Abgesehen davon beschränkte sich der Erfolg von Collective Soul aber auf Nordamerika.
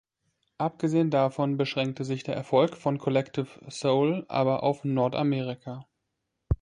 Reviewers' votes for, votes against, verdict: 2, 0, accepted